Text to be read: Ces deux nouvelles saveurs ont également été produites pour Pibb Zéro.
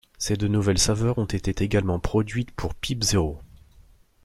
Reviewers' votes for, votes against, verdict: 1, 2, rejected